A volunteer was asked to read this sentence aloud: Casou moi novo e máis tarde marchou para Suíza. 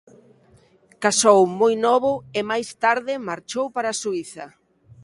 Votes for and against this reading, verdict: 2, 0, accepted